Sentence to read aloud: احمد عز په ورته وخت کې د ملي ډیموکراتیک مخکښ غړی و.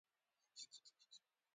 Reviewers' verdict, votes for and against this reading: rejected, 0, 2